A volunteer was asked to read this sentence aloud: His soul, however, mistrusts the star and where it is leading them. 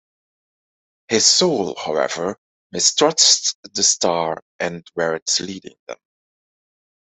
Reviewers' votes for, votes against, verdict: 0, 2, rejected